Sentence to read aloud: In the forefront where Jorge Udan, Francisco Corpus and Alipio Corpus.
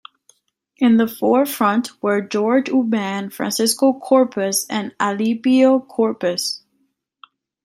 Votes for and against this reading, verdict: 2, 1, accepted